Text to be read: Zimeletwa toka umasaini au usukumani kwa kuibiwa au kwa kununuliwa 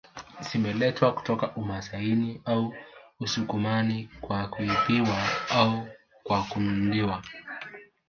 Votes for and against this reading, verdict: 1, 2, rejected